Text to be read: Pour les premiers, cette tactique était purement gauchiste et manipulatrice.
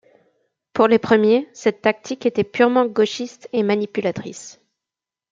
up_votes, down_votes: 2, 0